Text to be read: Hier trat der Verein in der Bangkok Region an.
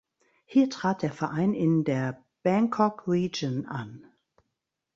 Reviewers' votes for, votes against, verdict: 1, 2, rejected